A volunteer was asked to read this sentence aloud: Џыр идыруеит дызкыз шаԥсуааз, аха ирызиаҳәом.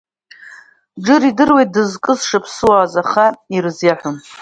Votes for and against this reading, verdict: 2, 1, accepted